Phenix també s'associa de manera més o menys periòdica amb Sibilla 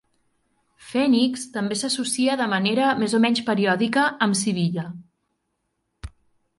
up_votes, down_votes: 4, 0